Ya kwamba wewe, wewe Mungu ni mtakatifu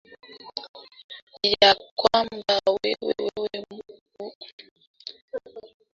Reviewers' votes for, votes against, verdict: 1, 2, rejected